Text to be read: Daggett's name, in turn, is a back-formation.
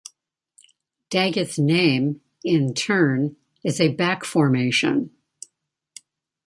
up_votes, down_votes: 2, 0